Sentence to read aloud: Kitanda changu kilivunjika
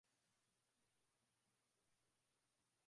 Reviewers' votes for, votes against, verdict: 2, 10, rejected